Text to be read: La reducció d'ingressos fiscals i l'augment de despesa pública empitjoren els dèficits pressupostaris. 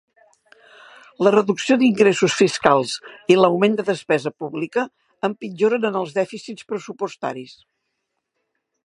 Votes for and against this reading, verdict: 1, 2, rejected